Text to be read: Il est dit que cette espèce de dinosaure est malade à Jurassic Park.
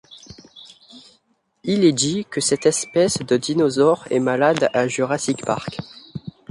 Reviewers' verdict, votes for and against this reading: accepted, 2, 0